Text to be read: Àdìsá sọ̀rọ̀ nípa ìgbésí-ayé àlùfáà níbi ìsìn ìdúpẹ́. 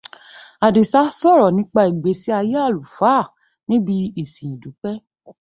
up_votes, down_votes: 2, 0